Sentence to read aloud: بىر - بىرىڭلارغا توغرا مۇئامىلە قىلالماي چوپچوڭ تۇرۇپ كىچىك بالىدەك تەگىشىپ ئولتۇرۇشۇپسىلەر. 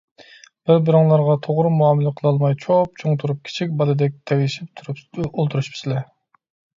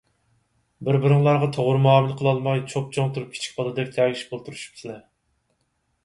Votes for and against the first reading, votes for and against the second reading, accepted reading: 0, 2, 4, 0, second